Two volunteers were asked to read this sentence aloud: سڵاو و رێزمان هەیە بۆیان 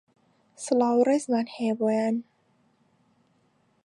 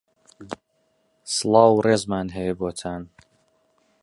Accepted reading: first